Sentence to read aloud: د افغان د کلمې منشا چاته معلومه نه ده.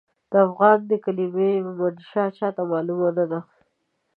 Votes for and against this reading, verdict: 1, 2, rejected